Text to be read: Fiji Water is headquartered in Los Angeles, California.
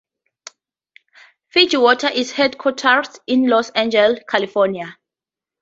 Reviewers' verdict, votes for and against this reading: rejected, 0, 4